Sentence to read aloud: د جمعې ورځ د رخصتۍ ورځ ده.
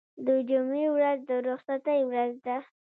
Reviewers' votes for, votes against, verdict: 1, 2, rejected